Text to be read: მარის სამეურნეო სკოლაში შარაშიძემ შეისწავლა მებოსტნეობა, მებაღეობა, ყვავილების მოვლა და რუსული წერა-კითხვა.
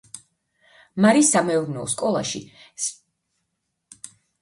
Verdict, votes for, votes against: rejected, 0, 2